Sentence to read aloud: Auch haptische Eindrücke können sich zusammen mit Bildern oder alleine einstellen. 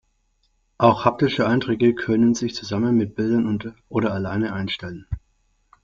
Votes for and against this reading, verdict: 1, 2, rejected